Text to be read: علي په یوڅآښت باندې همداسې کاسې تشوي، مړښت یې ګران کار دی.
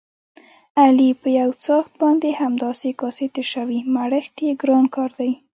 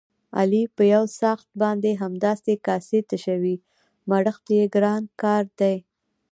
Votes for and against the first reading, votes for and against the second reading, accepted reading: 1, 2, 2, 1, second